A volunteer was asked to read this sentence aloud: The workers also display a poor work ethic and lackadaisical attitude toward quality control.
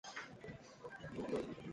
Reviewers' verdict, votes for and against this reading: rejected, 0, 2